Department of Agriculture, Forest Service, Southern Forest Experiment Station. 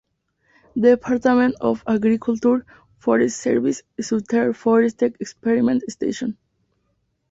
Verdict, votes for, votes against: rejected, 0, 4